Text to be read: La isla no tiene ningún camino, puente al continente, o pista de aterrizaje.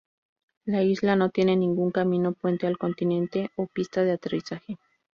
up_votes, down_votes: 2, 0